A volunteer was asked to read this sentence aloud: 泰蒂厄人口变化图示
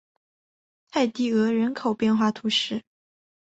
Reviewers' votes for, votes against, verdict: 3, 0, accepted